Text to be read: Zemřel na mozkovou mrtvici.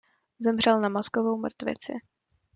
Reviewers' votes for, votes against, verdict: 2, 0, accepted